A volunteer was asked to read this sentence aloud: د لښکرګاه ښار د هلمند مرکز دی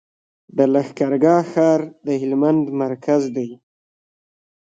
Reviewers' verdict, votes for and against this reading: accepted, 2, 1